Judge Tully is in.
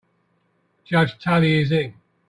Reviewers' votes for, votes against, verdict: 3, 0, accepted